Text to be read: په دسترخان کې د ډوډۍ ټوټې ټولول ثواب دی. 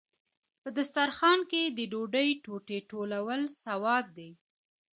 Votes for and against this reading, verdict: 2, 0, accepted